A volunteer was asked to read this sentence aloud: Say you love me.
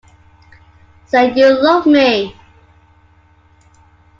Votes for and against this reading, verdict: 2, 0, accepted